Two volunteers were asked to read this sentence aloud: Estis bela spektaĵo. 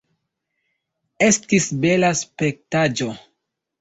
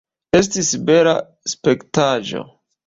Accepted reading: first